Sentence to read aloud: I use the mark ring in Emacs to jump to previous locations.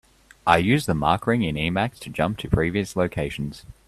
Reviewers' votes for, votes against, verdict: 2, 0, accepted